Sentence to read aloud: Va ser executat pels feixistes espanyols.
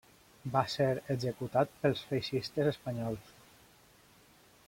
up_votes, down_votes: 2, 0